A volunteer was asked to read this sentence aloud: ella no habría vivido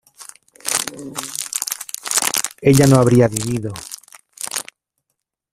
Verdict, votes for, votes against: accepted, 2, 1